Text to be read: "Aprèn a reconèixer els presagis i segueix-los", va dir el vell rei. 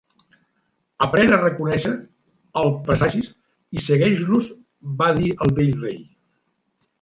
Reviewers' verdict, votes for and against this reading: rejected, 0, 2